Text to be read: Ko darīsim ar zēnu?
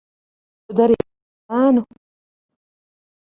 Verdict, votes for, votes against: rejected, 0, 2